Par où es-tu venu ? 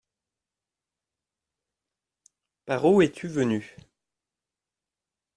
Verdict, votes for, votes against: accepted, 2, 0